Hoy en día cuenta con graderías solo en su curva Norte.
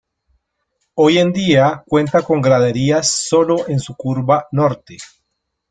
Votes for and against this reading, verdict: 0, 2, rejected